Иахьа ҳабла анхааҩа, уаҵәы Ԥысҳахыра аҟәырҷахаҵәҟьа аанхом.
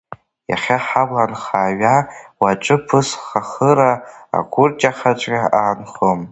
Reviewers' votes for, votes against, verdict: 0, 2, rejected